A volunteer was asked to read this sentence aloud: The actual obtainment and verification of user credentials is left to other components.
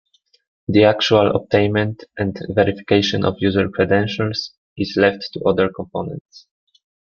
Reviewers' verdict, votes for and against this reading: accepted, 2, 0